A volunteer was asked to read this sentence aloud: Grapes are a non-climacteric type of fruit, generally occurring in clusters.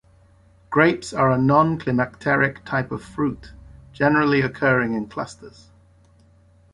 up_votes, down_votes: 2, 0